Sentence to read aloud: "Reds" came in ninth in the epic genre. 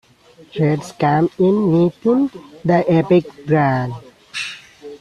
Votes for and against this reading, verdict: 0, 2, rejected